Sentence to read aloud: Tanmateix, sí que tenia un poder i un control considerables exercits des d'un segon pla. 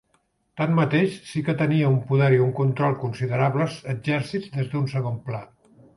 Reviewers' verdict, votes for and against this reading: rejected, 1, 3